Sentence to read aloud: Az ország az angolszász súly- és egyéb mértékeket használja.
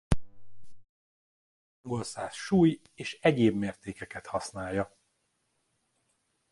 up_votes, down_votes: 0, 2